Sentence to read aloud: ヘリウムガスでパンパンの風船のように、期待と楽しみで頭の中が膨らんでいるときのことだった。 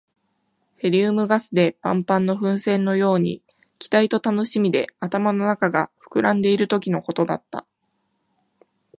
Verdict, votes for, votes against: accepted, 2, 0